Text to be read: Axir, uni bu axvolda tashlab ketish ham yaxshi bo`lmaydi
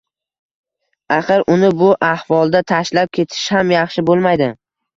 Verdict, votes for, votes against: accepted, 2, 0